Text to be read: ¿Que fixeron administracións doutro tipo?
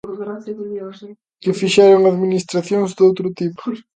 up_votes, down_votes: 0, 2